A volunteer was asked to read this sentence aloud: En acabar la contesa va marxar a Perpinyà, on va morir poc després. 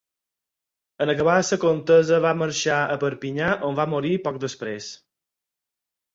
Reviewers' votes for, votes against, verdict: 2, 4, rejected